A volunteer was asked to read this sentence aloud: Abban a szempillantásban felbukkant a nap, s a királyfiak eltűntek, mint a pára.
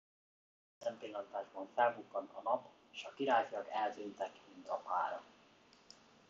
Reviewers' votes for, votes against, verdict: 0, 2, rejected